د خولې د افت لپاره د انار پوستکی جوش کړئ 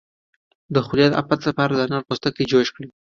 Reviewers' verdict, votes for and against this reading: accepted, 2, 0